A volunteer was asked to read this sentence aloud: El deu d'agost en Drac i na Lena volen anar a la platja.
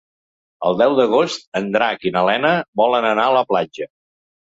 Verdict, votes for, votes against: accepted, 3, 0